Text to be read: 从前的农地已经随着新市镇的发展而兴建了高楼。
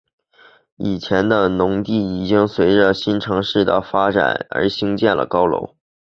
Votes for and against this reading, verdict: 1, 2, rejected